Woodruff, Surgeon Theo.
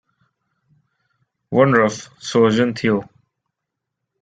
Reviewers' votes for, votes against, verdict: 0, 2, rejected